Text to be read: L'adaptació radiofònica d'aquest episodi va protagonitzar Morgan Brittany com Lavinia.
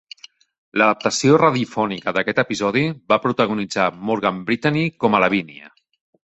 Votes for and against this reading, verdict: 1, 2, rejected